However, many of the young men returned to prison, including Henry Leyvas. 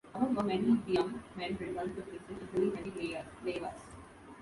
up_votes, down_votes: 1, 2